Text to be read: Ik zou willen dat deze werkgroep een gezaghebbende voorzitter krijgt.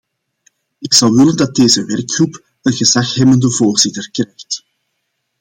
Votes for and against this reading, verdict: 1, 2, rejected